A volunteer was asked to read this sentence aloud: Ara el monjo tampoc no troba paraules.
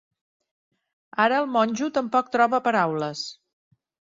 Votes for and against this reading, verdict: 1, 2, rejected